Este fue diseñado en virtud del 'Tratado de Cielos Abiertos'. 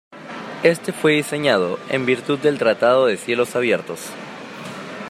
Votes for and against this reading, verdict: 2, 0, accepted